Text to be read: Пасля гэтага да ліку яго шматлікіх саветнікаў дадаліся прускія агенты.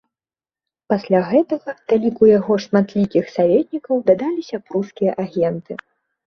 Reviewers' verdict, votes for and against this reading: accepted, 2, 0